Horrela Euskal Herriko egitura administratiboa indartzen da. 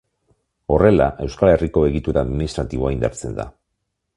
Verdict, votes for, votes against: accepted, 2, 0